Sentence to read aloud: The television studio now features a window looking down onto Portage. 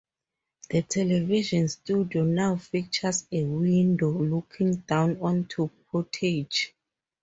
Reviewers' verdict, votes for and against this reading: accepted, 2, 0